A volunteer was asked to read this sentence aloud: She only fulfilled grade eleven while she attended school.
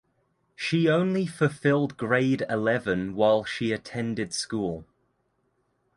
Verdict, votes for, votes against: accepted, 2, 0